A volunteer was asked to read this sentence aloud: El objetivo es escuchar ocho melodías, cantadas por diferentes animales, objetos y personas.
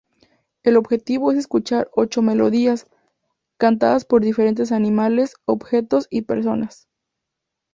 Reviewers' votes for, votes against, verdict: 2, 0, accepted